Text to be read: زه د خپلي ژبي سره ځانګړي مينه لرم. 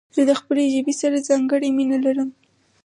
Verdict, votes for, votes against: accepted, 4, 0